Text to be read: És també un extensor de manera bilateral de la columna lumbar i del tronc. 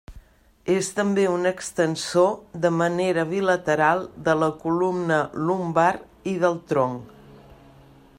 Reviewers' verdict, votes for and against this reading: accepted, 3, 0